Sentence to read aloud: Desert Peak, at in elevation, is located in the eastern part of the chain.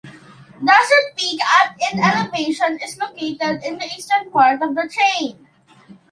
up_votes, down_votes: 1, 2